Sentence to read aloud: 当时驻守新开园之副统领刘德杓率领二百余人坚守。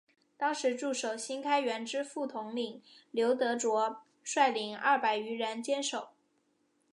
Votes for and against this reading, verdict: 2, 0, accepted